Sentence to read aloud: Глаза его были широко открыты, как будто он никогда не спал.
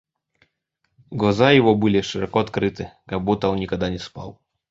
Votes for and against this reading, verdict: 1, 2, rejected